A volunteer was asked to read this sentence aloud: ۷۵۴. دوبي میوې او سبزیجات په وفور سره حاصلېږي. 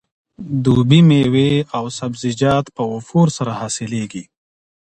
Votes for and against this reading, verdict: 0, 2, rejected